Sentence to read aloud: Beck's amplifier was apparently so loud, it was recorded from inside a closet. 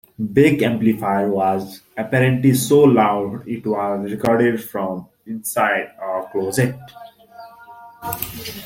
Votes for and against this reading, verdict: 2, 0, accepted